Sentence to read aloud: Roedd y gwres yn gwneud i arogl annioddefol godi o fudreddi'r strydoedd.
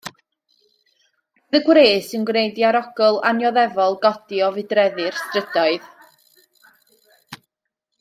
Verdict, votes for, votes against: accepted, 2, 0